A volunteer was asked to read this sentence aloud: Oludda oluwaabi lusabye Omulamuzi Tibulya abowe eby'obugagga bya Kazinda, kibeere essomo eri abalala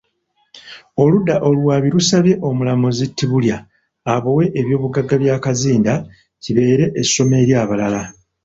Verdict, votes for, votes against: accepted, 2, 0